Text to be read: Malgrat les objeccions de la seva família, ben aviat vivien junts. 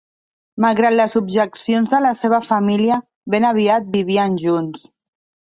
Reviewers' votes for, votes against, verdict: 3, 0, accepted